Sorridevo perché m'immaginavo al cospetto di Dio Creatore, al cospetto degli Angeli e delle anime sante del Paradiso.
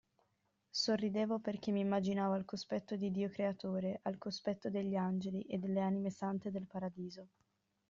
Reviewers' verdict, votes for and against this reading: rejected, 0, 2